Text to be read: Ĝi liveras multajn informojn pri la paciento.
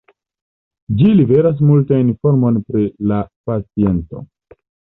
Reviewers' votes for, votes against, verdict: 0, 2, rejected